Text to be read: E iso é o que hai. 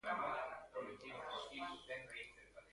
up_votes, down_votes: 0, 2